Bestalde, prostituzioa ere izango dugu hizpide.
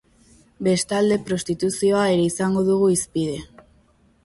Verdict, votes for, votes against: accepted, 2, 0